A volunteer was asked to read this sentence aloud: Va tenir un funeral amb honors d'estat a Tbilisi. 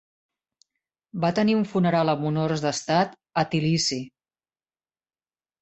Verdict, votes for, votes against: accepted, 4, 0